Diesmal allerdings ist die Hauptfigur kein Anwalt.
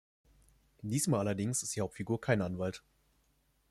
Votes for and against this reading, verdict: 2, 0, accepted